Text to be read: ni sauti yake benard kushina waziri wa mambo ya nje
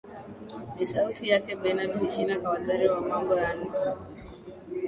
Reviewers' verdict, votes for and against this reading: accepted, 2, 1